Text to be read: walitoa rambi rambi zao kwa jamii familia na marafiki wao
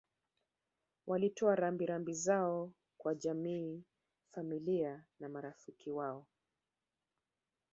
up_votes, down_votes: 0, 2